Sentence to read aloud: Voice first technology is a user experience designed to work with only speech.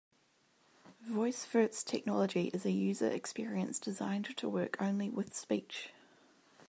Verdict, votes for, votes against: rejected, 0, 2